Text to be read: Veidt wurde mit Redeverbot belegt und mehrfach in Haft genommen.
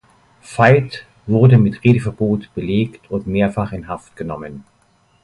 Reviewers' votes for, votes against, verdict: 2, 0, accepted